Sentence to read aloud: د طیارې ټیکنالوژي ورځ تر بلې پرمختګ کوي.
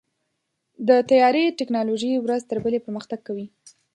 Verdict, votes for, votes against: accepted, 2, 0